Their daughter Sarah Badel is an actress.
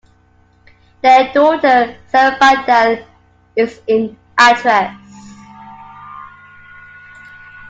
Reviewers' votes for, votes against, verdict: 0, 2, rejected